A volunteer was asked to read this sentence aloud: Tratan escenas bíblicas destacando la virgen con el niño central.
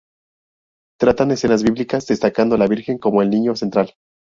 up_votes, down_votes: 2, 2